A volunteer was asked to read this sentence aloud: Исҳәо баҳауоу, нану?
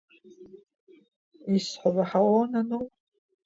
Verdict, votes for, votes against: rejected, 0, 2